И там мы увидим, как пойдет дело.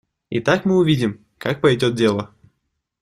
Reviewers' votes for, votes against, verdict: 1, 2, rejected